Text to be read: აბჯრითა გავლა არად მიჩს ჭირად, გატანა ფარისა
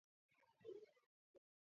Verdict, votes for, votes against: rejected, 0, 2